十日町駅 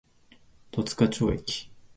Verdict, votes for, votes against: accepted, 2, 1